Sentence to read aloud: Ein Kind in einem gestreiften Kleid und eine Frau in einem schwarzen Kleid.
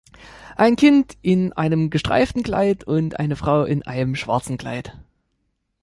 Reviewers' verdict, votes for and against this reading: accepted, 2, 0